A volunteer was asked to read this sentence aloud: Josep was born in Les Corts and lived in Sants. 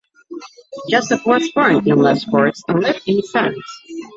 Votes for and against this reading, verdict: 2, 0, accepted